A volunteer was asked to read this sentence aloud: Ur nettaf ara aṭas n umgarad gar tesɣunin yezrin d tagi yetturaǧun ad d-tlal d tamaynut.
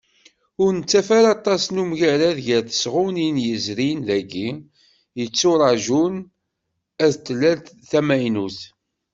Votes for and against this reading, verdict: 1, 2, rejected